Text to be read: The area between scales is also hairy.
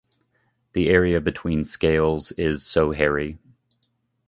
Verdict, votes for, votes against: rejected, 0, 2